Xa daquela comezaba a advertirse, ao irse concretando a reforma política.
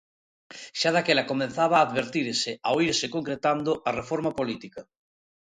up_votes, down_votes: 1, 2